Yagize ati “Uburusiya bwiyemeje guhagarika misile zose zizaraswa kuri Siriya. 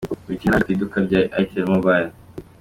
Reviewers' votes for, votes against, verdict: 0, 2, rejected